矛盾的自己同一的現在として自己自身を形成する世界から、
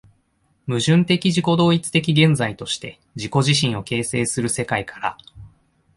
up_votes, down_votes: 2, 0